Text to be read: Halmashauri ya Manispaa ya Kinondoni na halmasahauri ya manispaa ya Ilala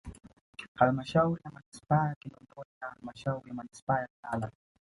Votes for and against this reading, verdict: 1, 2, rejected